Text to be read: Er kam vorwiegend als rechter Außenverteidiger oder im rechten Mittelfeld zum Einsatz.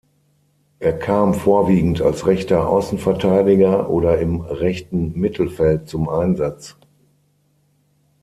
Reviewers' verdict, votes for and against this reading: accepted, 6, 0